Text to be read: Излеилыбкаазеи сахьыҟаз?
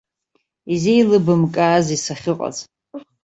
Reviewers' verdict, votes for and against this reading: accepted, 2, 1